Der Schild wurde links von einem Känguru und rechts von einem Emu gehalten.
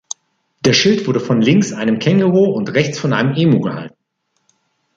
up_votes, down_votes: 2, 0